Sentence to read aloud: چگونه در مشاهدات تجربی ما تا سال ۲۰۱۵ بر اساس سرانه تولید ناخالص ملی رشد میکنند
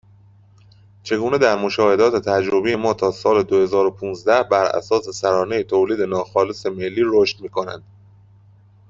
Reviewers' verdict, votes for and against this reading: rejected, 0, 2